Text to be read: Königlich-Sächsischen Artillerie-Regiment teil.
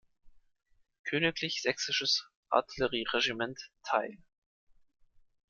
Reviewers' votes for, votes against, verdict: 0, 2, rejected